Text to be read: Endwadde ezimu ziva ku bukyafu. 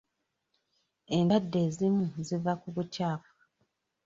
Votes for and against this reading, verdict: 0, 2, rejected